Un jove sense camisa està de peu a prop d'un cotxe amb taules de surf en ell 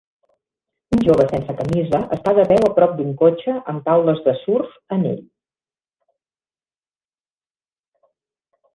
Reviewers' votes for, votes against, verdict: 0, 2, rejected